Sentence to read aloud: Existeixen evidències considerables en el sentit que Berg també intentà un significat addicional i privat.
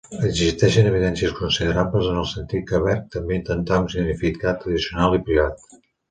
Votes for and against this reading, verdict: 1, 2, rejected